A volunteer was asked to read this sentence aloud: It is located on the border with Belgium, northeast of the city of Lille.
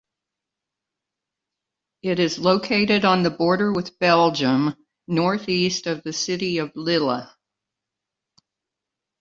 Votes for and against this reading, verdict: 1, 2, rejected